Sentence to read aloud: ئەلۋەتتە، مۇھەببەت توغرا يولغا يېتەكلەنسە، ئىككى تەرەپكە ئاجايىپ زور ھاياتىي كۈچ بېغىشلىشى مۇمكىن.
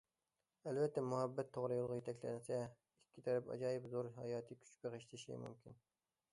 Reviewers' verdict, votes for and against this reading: rejected, 0, 2